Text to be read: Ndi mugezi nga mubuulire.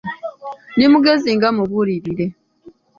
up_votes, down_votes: 2, 0